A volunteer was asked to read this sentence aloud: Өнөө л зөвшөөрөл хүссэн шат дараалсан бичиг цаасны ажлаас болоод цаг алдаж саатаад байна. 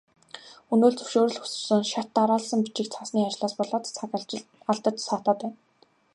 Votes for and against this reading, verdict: 0, 2, rejected